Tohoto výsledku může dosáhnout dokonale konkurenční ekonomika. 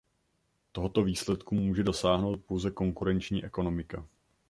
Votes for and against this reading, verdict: 0, 2, rejected